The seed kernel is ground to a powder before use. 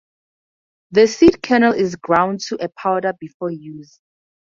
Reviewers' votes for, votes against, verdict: 2, 0, accepted